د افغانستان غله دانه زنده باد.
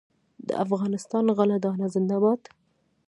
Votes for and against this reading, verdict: 0, 2, rejected